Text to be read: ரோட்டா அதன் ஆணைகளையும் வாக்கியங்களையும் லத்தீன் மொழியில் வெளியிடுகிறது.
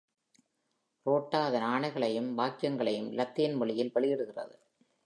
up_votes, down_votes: 2, 0